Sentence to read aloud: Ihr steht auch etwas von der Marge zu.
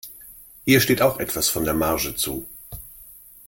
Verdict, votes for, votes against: accepted, 2, 0